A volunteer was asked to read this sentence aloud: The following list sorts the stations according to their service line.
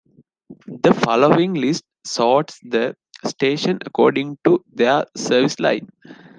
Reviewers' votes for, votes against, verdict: 0, 2, rejected